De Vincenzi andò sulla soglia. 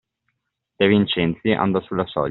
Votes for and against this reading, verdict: 1, 2, rejected